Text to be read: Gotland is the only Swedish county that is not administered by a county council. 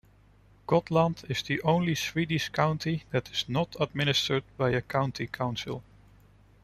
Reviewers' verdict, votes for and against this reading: accepted, 2, 0